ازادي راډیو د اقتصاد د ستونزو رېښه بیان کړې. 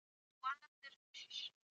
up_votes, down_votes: 0, 2